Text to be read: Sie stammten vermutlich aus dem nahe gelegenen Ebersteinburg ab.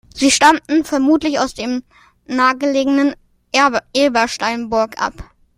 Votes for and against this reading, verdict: 0, 2, rejected